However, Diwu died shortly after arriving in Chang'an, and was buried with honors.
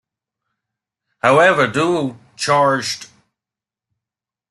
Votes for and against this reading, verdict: 0, 2, rejected